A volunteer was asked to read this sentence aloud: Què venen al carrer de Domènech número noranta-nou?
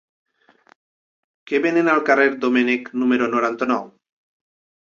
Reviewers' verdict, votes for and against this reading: rejected, 0, 2